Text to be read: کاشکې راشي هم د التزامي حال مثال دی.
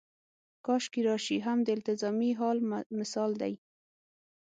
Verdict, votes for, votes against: rejected, 3, 6